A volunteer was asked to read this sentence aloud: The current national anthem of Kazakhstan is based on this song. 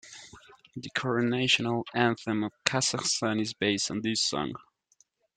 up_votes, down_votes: 0, 2